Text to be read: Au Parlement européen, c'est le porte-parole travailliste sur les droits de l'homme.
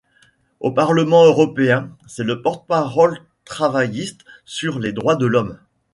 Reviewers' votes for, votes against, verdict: 1, 2, rejected